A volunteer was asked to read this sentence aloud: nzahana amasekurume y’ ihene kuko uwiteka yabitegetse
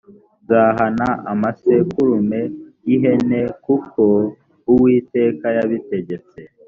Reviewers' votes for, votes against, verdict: 2, 0, accepted